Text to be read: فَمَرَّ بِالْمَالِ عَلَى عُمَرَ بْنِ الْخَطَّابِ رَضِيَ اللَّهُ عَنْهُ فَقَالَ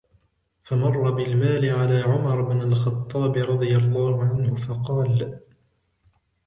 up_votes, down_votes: 1, 2